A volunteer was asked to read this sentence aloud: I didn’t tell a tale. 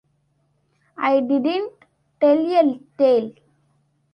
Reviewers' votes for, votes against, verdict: 2, 1, accepted